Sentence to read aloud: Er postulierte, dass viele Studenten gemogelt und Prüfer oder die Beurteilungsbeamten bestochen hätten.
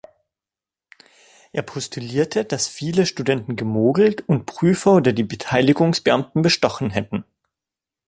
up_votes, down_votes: 0, 2